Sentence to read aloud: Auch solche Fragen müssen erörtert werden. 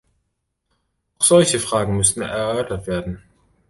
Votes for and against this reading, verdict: 1, 2, rejected